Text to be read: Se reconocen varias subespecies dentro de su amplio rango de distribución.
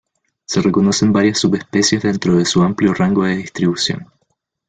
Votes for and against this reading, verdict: 2, 0, accepted